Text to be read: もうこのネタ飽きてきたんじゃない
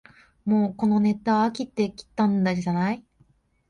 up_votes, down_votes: 0, 2